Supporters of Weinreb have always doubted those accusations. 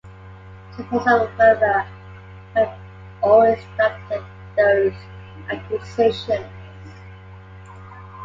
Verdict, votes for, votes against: rejected, 1, 3